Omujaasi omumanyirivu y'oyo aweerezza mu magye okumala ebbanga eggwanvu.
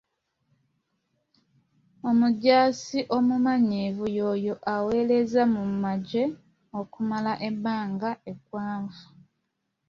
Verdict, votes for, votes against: accepted, 2, 0